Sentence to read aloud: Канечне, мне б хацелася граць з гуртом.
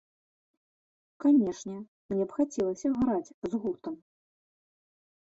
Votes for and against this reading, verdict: 1, 2, rejected